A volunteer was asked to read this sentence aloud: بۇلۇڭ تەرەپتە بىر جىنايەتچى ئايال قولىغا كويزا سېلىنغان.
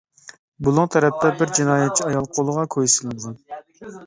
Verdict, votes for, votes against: rejected, 0, 2